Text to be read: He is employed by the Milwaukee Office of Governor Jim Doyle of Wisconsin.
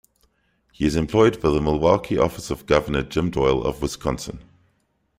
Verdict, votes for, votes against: accepted, 2, 0